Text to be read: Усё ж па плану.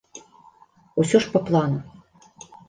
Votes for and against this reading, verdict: 2, 0, accepted